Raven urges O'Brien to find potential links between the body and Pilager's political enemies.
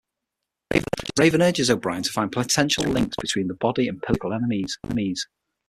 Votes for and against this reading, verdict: 6, 3, accepted